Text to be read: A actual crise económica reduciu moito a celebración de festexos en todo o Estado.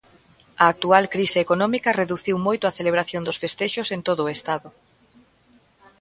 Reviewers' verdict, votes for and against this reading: rejected, 1, 2